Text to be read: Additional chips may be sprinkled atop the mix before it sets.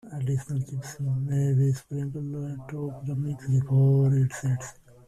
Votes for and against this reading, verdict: 0, 2, rejected